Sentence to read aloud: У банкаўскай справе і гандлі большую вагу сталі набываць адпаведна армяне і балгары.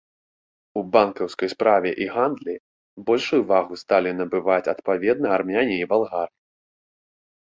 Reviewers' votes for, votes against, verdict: 1, 2, rejected